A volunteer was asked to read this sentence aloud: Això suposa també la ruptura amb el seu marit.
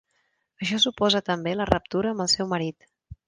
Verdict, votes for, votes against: rejected, 1, 2